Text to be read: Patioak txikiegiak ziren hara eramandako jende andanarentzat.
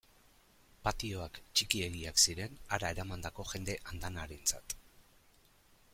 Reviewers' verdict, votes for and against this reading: accepted, 2, 1